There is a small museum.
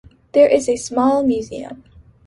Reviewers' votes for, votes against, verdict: 2, 0, accepted